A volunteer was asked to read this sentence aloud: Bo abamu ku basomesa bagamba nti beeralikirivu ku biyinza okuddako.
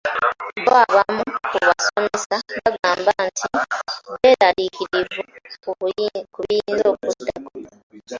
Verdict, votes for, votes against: rejected, 0, 2